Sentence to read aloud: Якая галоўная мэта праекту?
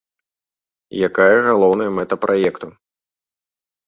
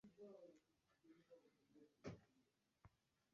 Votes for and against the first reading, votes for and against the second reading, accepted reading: 2, 0, 1, 2, first